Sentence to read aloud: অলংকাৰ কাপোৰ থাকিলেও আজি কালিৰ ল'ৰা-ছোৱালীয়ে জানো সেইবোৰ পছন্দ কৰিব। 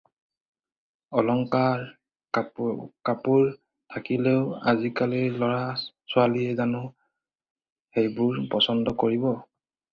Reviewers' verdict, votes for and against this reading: rejected, 0, 4